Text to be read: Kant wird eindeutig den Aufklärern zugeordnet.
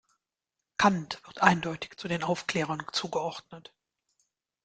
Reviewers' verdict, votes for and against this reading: rejected, 0, 2